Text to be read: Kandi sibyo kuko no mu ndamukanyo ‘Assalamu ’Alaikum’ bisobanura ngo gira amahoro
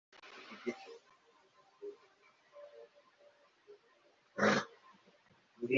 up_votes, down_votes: 0, 2